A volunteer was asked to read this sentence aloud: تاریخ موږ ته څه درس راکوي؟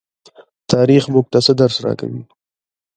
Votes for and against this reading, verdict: 2, 0, accepted